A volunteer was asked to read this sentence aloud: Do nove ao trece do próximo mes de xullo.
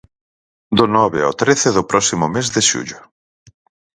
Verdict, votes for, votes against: accepted, 4, 0